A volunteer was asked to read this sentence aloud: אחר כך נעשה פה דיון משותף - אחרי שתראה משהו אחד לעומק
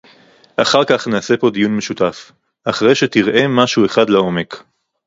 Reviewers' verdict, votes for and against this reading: accepted, 2, 0